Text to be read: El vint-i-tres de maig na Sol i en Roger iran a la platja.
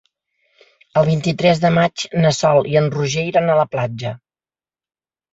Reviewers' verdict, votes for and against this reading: accepted, 3, 0